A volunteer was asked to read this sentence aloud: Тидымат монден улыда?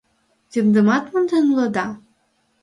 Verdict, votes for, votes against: rejected, 2, 4